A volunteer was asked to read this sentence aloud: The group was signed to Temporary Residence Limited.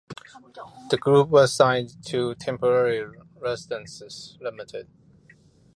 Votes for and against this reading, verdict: 1, 2, rejected